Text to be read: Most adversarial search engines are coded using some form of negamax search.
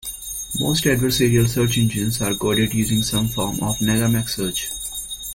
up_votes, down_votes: 1, 2